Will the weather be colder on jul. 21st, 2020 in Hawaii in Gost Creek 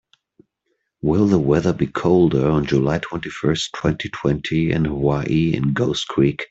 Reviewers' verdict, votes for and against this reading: rejected, 0, 2